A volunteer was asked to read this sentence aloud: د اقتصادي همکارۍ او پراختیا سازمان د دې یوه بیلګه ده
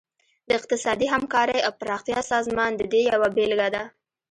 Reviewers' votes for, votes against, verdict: 2, 0, accepted